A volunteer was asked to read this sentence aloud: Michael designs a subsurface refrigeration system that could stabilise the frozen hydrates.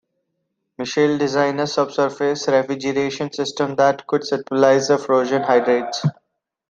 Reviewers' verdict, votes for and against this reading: rejected, 0, 2